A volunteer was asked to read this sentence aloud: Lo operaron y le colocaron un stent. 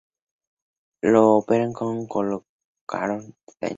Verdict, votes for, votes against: rejected, 0, 2